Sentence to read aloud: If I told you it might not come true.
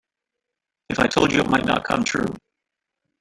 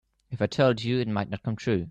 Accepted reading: second